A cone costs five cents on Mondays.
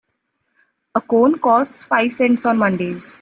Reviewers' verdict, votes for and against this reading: accepted, 2, 1